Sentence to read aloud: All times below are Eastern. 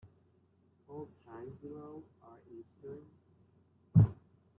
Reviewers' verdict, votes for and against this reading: rejected, 0, 2